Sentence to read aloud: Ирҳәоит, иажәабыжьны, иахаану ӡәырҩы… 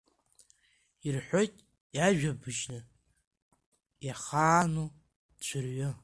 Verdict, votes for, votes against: rejected, 1, 2